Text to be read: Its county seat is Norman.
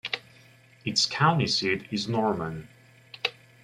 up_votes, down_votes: 2, 0